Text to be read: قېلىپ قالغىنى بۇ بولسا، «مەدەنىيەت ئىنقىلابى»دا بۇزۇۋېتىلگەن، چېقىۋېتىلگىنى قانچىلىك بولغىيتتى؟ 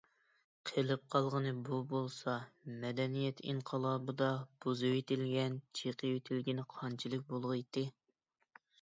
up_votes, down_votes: 0, 2